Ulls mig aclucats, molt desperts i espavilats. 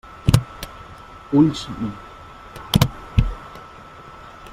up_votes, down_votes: 0, 2